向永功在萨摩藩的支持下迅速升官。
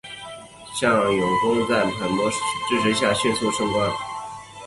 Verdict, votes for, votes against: accepted, 5, 3